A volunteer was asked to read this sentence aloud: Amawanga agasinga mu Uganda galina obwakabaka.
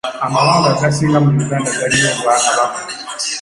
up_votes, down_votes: 2, 1